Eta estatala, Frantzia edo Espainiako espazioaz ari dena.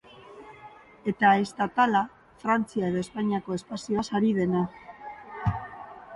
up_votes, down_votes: 2, 0